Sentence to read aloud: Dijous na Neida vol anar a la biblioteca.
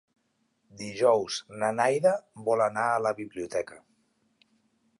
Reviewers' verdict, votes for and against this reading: accepted, 2, 1